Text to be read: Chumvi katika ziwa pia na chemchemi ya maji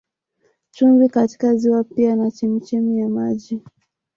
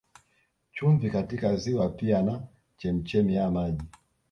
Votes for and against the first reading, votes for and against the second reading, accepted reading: 2, 0, 1, 2, first